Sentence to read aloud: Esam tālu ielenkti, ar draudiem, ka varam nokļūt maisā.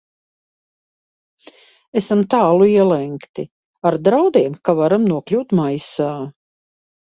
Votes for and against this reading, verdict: 2, 0, accepted